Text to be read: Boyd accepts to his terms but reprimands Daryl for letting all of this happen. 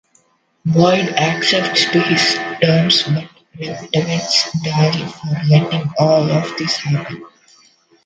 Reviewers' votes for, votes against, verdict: 1, 2, rejected